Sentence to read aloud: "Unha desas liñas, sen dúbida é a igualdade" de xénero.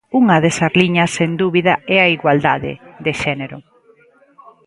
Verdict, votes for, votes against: accepted, 2, 0